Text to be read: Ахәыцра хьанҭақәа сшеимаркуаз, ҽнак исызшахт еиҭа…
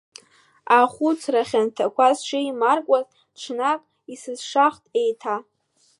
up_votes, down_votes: 1, 2